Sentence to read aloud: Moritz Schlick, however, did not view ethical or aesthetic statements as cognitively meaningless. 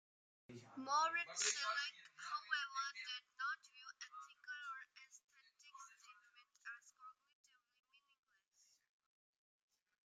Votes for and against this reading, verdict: 0, 2, rejected